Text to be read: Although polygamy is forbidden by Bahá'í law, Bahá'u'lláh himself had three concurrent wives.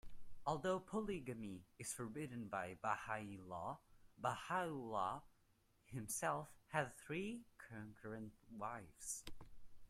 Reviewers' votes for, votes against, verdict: 0, 2, rejected